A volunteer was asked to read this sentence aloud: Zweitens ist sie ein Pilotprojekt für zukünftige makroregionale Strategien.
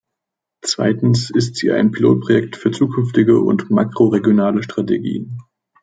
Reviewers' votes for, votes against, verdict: 0, 2, rejected